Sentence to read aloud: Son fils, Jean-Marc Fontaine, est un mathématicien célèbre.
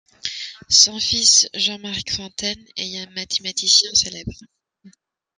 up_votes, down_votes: 2, 0